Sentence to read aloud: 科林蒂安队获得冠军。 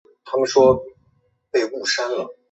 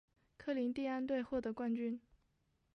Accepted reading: second